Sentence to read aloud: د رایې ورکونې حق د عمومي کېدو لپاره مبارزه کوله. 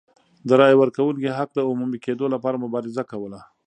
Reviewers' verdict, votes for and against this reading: accepted, 2, 0